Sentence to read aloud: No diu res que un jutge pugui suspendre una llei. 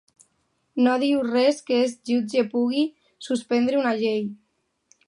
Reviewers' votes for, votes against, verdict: 0, 2, rejected